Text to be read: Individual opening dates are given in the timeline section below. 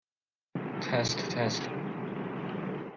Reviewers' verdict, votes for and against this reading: rejected, 0, 2